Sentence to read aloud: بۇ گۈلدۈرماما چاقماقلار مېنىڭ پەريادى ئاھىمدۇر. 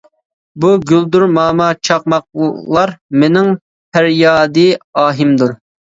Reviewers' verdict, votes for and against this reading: accepted, 2, 1